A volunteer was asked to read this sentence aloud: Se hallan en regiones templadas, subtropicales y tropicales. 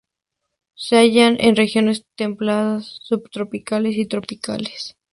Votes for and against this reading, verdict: 2, 0, accepted